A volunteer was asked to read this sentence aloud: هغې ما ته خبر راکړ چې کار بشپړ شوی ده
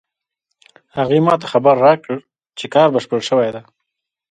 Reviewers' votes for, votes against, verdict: 2, 1, accepted